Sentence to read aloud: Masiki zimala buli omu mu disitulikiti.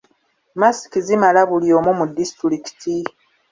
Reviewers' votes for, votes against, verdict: 0, 2, rejected